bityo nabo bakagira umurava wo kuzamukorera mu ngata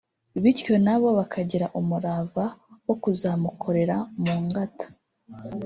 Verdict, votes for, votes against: accepted, 2, 0